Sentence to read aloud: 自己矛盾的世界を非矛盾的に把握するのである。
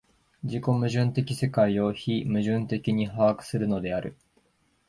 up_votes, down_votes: 2, 0